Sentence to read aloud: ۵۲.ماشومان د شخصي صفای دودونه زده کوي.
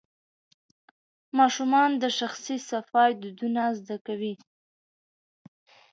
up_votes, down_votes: 0, 2